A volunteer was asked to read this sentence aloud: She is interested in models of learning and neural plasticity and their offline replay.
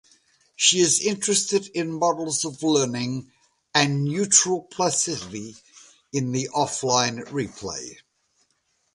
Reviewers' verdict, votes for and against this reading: rejected, 1, 2